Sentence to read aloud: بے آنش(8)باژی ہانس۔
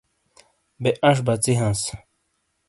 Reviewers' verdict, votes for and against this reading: rejected, 0, 2